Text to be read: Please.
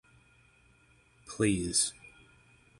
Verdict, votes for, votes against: accepted, 6, 0